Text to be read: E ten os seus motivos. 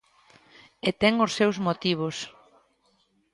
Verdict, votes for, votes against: accepted, 2, 0